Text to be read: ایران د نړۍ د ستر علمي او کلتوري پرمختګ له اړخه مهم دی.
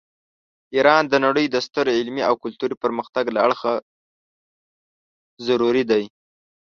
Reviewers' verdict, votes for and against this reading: rejected, 1, 2